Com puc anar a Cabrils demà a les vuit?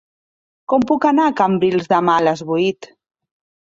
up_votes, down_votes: 0, 2